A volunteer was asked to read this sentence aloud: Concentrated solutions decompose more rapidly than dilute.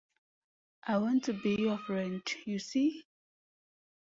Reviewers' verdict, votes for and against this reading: rejected, 0, 2